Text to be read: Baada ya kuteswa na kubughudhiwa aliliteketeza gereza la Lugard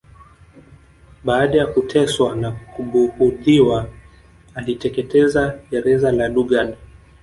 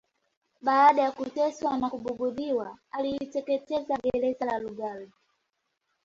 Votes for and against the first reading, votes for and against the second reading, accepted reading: 0, 2, 2, 0, second